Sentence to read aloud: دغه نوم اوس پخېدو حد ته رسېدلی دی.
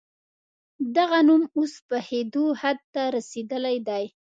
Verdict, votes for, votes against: accepted, 2, 0